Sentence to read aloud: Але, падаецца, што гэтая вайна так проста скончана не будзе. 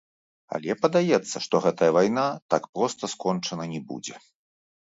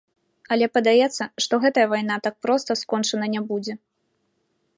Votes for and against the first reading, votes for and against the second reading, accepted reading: 2, 3, 3, 0, second